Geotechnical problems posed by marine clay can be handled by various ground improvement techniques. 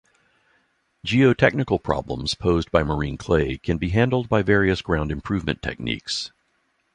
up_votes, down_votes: 2, 0